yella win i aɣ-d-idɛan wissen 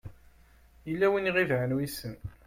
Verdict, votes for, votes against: rejected, 0, 2